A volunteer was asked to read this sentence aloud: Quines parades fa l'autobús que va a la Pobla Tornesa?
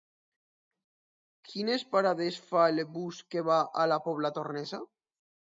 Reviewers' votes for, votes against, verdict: 0, 2, rejected